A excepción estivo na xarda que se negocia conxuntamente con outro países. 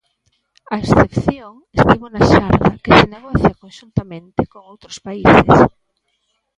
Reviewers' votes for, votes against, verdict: 0, 2, rejected